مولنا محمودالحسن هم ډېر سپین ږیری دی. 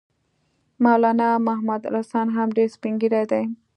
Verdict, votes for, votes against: accepted, 2, 1